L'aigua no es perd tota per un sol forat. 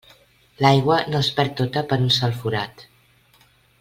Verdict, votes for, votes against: accepted, 2, 0